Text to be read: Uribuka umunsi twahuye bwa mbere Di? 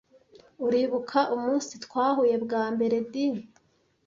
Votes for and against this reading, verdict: 2, 0, accepted